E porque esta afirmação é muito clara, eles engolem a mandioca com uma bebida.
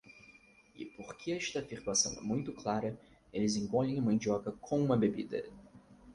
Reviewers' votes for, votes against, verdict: 4, 0, accepted